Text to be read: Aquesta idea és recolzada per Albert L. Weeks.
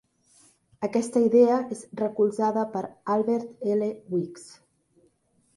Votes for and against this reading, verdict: 1, 2, rejected